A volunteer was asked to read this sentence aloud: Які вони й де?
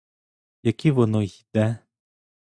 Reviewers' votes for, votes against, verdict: 0, 2, rejected